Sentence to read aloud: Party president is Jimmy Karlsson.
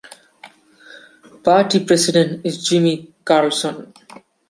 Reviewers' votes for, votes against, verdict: 2, 0, accepted